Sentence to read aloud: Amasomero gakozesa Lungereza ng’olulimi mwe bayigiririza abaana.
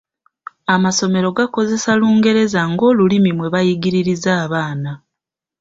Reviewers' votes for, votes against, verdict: 2, 0, accepted